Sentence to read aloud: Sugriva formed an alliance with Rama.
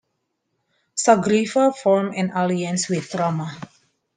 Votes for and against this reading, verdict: 1, 2, rejected